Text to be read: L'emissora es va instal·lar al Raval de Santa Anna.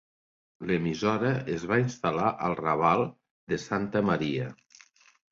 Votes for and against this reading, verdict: 0, 2, rejected